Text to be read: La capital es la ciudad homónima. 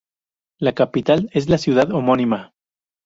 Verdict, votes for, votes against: rejected, 2, 2